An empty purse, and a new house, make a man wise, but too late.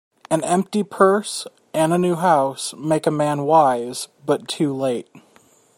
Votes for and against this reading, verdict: 2, 1, accepted